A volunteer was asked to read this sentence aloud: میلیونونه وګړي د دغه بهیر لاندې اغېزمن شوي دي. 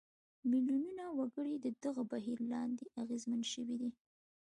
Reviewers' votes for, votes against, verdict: 2, 0, accepted